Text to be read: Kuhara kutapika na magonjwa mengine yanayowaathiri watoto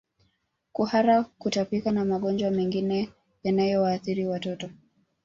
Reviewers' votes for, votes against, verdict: 1, 2, rejected